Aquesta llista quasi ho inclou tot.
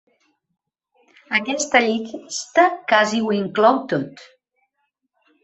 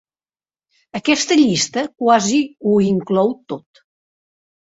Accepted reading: second